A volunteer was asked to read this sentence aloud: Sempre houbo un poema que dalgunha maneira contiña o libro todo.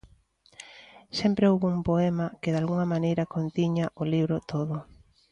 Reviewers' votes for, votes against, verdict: 2, 0, accepted